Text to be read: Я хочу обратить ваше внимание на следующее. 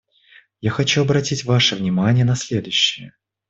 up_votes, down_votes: 2, 1